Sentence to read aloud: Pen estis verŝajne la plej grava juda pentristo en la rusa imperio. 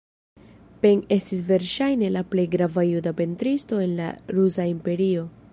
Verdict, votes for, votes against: accepted, 2, 0